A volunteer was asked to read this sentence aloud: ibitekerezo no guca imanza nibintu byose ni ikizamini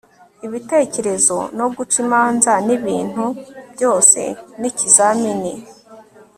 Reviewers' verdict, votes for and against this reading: accepted, 3, 0